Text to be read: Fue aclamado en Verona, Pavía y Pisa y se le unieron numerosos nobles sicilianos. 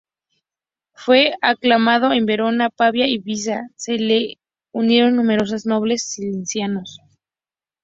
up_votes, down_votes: 0, 2